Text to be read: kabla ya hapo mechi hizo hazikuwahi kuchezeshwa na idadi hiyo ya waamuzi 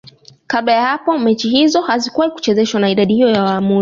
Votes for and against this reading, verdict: 0, 2, rejected